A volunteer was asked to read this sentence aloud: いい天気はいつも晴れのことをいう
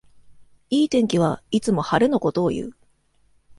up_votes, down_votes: 2, 0